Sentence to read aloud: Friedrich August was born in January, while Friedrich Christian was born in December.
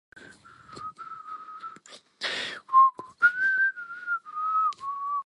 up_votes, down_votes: 0, 2